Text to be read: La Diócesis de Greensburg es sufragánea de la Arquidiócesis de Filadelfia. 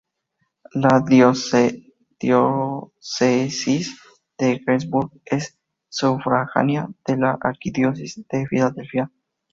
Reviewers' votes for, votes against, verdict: 0, 4, rejected